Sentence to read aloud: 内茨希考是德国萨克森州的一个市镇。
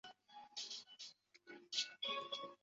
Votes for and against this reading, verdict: 0, 2, rejected